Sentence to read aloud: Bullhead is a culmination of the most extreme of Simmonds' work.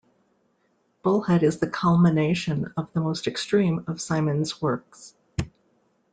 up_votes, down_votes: 0, 2